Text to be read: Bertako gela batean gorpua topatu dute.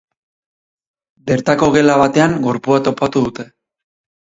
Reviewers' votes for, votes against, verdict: 2, 2, rejected